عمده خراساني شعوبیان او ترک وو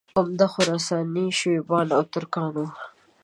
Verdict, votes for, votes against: rejected, 1, 2